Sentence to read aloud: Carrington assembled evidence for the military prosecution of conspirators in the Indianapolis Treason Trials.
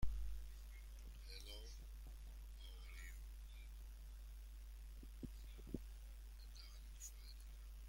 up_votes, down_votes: 1, 2